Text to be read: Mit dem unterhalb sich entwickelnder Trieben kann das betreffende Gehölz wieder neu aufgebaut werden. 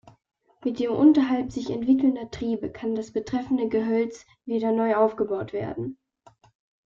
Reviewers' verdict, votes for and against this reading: rejected, 0, 2